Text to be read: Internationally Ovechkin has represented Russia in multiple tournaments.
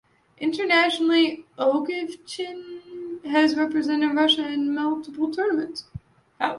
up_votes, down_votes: 0, 2